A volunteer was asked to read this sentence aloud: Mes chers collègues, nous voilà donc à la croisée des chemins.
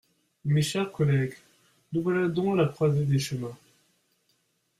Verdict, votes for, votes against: rejected, 0, 2